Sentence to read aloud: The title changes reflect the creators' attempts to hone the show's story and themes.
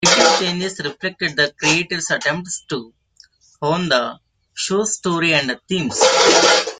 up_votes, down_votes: 1, 2